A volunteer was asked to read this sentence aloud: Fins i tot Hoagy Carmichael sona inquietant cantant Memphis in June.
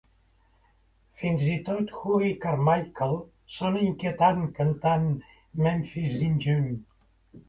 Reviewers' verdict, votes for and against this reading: accepted, 2, 0